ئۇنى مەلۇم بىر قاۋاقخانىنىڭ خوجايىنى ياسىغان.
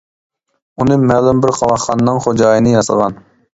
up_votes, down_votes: 3, 0